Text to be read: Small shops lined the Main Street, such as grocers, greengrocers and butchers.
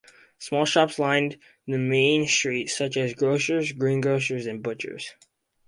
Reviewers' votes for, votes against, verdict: 2, 0, accepted